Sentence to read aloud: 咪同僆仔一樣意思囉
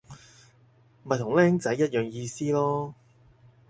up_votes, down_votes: 4, 0